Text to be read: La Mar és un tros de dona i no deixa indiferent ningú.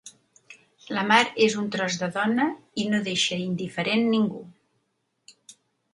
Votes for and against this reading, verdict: 3, 0, accepted